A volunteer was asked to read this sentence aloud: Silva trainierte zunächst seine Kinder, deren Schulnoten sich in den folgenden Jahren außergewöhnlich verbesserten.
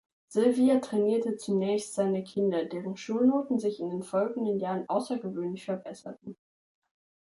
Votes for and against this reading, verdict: 1, 2, rejected